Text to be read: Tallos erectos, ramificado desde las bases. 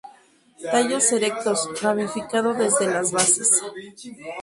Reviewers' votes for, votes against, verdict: 0, 2, rejected